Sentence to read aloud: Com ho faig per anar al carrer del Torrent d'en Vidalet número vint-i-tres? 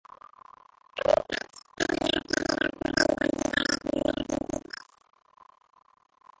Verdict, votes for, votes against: rejected, 1, 2